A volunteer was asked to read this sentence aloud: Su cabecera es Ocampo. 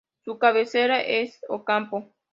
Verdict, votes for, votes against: accepted, 2, 0